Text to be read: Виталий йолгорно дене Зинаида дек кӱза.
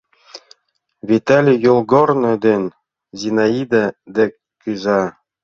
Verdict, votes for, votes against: accepted, 2, 0